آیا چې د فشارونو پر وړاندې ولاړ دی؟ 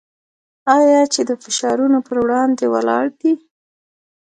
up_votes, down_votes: 2, 0